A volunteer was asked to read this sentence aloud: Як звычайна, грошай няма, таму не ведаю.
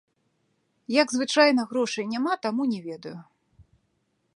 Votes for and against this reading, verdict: 2, 0, accepted